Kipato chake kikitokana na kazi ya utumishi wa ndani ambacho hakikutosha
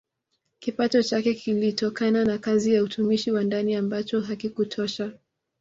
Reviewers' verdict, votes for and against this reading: rejected, 1, 2